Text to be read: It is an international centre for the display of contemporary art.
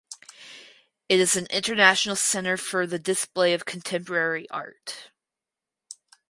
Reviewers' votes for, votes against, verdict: 4, 0, accepted